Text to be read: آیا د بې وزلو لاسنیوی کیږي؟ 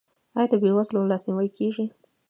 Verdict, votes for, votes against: accepted, 2, 1